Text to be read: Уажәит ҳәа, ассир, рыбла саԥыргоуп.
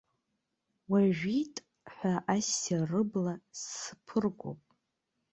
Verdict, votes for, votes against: accepted, 2, 1